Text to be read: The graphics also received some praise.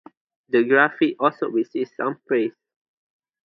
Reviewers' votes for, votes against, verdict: 0, 2, rejected